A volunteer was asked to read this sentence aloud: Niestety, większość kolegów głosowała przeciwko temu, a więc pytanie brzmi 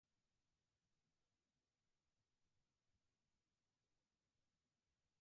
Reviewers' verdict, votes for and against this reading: rejected, 0, 2